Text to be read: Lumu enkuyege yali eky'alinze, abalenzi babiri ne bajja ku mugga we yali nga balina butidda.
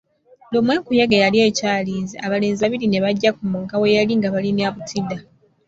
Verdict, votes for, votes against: accepted, 2, 0